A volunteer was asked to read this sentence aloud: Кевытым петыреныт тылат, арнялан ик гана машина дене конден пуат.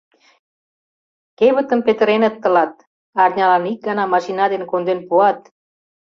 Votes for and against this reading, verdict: 2, 0, accepted